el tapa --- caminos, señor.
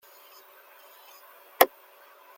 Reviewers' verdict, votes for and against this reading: rejected, 0, 2